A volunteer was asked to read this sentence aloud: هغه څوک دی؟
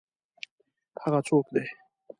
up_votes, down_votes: 2, 0